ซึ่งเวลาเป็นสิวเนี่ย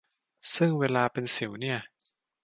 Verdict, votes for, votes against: accepted, 2, 0